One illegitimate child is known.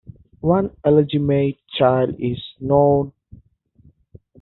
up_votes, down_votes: 2, 1